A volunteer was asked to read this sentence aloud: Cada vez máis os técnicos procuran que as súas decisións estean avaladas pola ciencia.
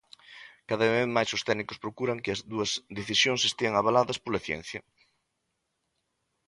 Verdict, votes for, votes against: rejected, 1, 2